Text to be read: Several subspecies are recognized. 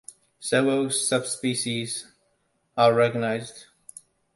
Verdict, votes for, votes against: accepted, 2, 0